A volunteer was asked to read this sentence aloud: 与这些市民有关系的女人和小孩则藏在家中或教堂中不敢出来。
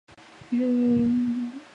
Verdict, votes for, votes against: rejected, 1, 3